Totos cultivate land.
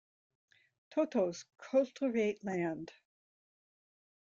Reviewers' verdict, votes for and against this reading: accepted, 2, 0